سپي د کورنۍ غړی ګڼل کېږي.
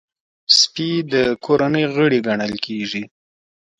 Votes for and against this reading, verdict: 1, 2, rejected